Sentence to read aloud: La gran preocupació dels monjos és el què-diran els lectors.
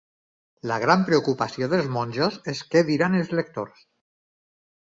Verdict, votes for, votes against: rejected, 0, 4